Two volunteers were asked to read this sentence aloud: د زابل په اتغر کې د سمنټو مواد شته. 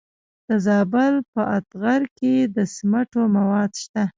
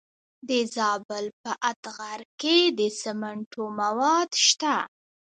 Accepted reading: first